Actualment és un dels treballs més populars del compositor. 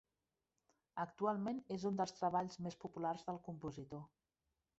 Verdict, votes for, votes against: rejected, 0, 2